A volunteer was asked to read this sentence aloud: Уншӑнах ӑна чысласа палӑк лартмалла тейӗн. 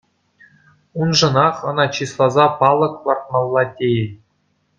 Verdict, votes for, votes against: accepted, 2, 0